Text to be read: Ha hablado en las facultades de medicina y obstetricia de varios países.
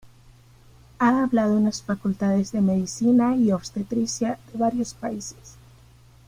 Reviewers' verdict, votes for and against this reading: accepted, 2, 1